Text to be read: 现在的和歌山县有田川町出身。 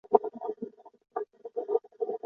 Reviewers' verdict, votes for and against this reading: rejected, 0, 2